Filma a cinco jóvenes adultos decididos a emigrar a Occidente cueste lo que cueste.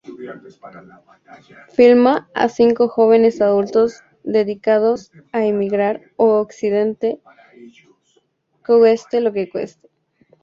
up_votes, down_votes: 0, 4